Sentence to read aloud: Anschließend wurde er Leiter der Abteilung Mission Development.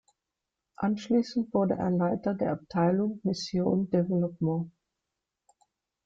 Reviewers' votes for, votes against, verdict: 0, 2, rejected